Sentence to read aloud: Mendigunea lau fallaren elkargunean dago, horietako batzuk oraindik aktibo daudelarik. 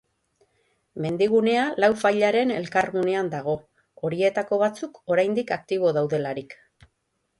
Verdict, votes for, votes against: rejected, 3, 3